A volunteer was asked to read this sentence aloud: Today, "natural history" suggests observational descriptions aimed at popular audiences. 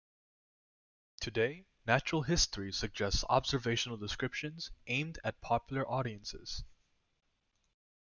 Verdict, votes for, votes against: accepted, 2, 0